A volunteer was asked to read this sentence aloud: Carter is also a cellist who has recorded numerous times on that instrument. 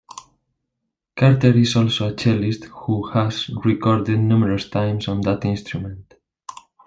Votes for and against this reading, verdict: 1, 2, rejected